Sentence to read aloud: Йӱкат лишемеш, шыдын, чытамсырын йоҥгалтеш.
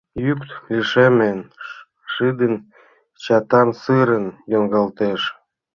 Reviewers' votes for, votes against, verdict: 1, 2, rejected